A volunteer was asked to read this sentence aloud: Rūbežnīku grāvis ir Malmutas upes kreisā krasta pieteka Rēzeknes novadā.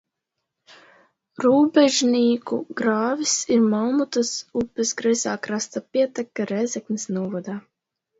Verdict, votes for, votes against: accepted, 2, 0